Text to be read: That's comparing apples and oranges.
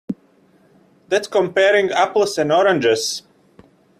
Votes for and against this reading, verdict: 2, 0, accepted